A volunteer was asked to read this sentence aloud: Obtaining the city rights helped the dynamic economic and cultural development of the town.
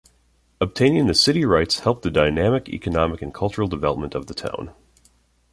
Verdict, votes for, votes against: accepted, 2, 0